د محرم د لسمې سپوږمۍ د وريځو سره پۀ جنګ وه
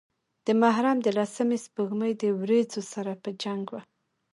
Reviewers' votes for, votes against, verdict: 1, 2, rejected